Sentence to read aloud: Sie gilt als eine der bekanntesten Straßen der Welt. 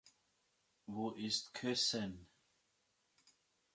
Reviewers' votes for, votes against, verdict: 0, 2, rejected